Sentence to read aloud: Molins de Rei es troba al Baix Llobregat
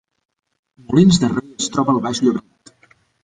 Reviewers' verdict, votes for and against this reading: rejected, 0, 2